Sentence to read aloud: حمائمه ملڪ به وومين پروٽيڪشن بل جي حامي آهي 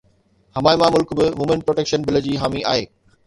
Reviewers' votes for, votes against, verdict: 2, 0, accepted